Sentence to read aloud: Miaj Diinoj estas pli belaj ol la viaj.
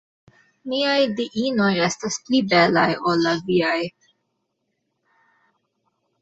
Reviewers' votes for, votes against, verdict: 1, 2, rejected